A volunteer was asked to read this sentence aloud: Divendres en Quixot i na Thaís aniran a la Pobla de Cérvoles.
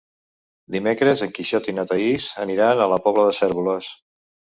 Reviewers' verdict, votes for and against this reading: rejected, 1, 3